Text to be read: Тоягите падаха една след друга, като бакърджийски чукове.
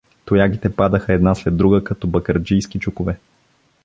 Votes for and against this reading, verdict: 2, 0, accepted